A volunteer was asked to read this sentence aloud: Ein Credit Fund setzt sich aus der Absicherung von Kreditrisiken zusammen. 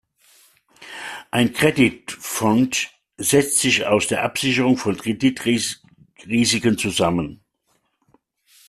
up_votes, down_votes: 0, 2